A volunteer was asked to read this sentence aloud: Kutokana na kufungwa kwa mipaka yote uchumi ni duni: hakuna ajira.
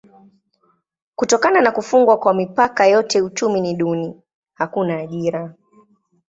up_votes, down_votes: 2, 0